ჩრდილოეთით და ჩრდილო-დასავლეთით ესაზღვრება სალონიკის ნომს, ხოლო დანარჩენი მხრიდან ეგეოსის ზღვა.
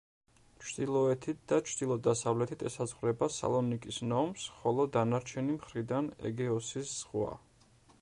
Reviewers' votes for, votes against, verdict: 2, 0, accepted